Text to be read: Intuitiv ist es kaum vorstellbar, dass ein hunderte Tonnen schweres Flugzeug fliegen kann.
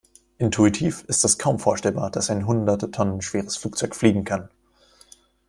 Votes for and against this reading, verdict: 2, 0, accepted